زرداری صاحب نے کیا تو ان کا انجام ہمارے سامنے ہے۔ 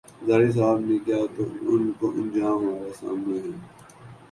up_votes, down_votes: 1, 2